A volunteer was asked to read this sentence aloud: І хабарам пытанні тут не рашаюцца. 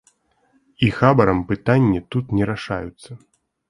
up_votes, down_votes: 2, 0